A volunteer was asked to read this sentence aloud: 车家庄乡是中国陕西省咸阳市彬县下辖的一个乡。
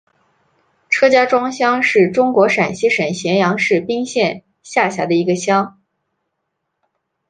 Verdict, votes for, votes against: accepted, 2, 0